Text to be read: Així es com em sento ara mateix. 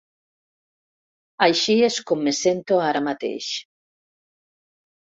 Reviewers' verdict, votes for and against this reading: rejected, 2, 3